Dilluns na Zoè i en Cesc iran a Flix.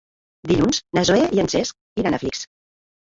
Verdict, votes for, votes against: rejected, 1, 2